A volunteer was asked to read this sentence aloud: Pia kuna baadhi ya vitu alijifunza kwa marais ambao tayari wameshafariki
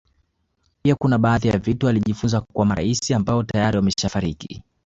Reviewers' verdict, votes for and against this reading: accepted, 2, 1